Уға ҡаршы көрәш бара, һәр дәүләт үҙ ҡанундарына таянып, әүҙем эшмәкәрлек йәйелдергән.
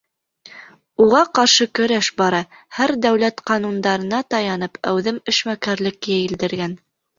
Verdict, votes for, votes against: rejected, 1, 2